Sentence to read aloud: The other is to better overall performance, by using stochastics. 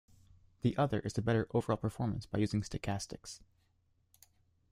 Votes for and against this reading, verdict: 1, 2, rejected